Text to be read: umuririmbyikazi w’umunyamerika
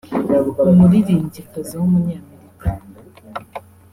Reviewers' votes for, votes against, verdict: 1, 2, rejected